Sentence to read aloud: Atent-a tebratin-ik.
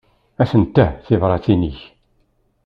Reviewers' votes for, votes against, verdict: 1, 2, rejected